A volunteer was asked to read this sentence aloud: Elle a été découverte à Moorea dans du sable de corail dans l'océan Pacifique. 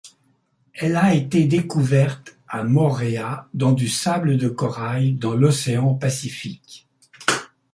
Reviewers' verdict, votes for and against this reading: accepted, 2, 0